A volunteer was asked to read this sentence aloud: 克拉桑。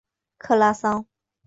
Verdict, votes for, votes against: accepted, 2, 0